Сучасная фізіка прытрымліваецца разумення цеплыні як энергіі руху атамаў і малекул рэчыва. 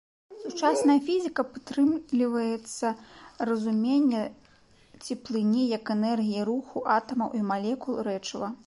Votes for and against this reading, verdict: 0, 2, rejected